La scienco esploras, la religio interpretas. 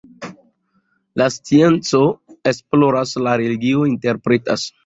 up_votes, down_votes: 2, 0